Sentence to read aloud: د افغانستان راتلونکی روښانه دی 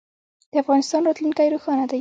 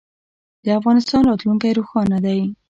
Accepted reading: second